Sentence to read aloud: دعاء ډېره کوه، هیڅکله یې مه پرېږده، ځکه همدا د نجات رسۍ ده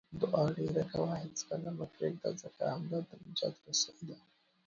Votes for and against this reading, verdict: 1, 2, rejected